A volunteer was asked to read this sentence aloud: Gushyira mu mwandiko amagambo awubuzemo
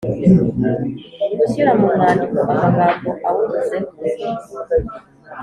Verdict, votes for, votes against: accepted, 2, 0